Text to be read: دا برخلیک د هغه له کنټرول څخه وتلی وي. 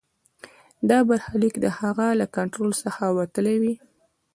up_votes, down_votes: 2, 1